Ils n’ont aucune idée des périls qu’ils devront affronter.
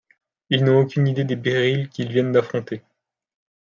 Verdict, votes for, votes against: rejected, 0, 2